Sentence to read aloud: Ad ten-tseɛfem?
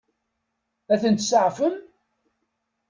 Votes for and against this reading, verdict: 2, 0, accepted